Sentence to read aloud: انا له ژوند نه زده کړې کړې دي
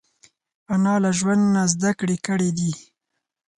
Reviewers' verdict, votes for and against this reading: accepted, 4, 0